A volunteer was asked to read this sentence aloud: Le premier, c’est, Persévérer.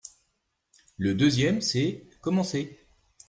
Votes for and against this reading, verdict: 0, 2, rejected